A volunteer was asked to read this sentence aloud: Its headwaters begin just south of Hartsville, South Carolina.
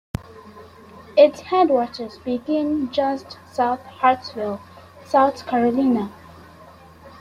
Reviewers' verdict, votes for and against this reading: accepted, 2, 1